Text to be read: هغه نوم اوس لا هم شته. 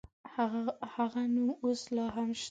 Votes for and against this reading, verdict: 1, 2, rejected